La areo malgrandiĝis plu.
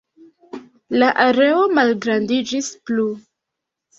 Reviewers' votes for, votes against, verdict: 0, 2, rejected